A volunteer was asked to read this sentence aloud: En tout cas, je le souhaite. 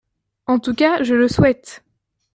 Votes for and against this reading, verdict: 2, 0, accepted